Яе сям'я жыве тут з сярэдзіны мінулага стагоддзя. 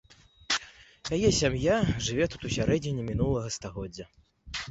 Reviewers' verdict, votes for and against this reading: rejected, 0, 2